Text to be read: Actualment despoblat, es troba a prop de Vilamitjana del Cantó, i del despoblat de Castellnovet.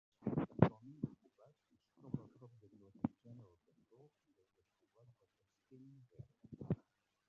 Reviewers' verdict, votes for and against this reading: rejected, 0, 2